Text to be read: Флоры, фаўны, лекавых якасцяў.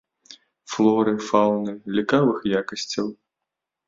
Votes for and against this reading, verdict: 1, 2, rejected